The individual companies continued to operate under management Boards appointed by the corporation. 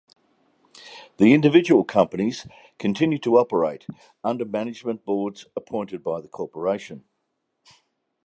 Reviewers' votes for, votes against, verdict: 2, 0, accepted